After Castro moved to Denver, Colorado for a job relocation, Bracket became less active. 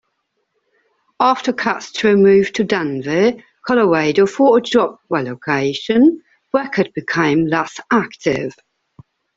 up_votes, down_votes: 0, 2